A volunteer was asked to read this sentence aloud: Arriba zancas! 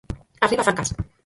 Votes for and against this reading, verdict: 0, 4, rejected